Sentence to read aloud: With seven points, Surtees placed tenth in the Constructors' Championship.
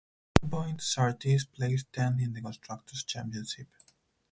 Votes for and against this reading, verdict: 0, 4, rejected